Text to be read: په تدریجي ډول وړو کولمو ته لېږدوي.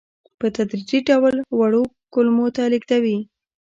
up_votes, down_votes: 3, 0